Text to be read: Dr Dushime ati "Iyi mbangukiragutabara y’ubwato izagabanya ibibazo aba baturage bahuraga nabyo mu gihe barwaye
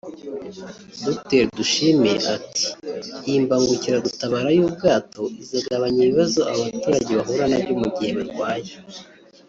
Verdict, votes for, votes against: accepted, 2, 0